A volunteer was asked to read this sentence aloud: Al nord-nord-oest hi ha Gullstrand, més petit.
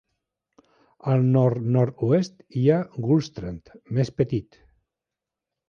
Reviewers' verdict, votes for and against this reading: accepted, 2, 1